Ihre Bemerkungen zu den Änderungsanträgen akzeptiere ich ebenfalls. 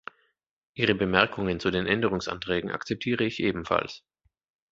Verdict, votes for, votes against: accepted, 2, 0